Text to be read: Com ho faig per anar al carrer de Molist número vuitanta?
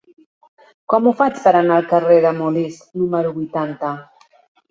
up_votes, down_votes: 3, 0